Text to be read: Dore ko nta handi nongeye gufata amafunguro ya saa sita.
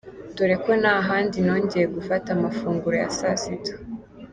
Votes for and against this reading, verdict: 2, 0, accepted